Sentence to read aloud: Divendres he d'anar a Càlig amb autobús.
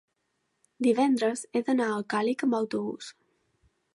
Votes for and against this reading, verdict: 1, 2, rejected